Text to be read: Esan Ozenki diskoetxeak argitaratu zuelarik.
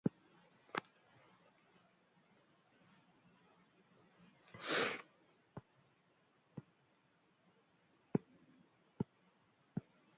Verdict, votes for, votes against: rejected, 0, 2